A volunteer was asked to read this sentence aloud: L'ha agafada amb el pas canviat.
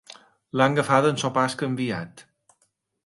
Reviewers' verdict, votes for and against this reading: rejected, 1, 2